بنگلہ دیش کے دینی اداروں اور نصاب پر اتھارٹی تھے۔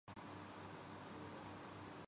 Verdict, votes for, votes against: rejected, 5, 13